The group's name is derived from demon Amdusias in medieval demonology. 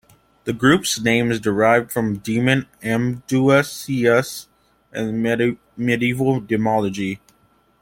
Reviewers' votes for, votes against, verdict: 1, 2, rejected